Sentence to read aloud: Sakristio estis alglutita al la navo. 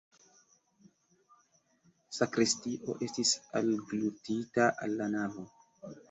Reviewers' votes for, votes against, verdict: 2, 1, accepted